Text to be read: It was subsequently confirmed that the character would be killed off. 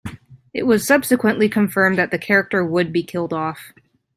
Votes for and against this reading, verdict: 2, 0, accepted